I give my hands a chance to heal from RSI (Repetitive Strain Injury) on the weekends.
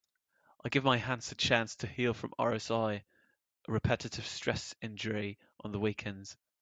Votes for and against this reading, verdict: 1, 3, rejected